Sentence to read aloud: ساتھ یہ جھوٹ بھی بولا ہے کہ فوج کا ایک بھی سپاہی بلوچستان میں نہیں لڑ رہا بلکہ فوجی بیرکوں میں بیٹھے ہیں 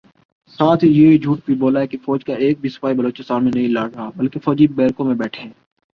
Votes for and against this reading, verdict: 2, 0, accepted